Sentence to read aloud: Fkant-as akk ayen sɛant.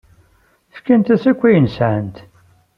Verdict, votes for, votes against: accepted, 2, 0